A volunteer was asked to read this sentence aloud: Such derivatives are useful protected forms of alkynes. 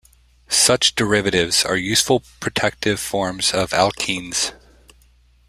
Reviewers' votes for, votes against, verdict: 0, 2, rejected